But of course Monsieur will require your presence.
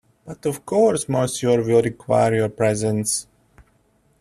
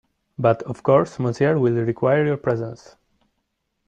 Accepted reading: second